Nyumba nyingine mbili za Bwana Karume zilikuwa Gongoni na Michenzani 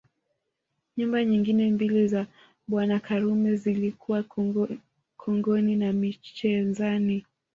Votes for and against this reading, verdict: 0, 2, rejected